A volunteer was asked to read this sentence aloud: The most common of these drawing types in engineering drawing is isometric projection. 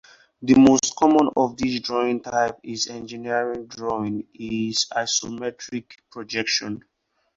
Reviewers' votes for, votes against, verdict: 2, 6, rejected